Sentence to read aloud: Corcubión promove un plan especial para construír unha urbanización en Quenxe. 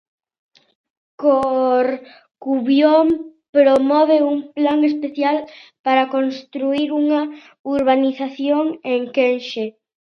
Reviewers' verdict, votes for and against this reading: rejected, 0, 2